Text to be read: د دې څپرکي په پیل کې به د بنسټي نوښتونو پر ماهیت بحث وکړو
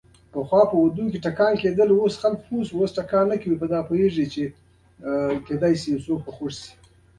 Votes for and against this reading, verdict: 1, 2, rejected